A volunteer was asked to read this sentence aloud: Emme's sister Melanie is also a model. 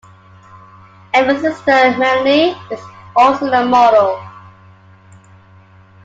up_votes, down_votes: 2, 0